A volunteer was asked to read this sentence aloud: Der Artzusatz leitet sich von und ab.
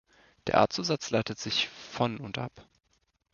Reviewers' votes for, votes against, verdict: 2, 0, accepted